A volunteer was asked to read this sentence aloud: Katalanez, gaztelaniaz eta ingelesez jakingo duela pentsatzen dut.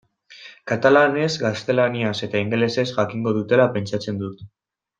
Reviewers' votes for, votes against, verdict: 1, 2, rejected